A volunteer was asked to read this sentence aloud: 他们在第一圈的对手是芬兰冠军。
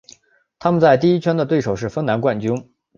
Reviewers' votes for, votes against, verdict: 3, 0, accepted